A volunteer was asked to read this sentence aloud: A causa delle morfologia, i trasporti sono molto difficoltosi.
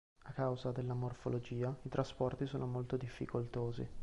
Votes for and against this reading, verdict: 2, 1, accepted